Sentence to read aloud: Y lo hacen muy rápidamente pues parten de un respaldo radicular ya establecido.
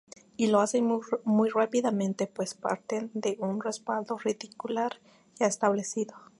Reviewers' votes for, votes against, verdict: 0, 2, rejected